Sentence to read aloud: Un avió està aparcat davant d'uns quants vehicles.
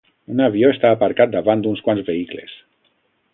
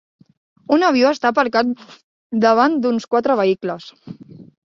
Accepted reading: first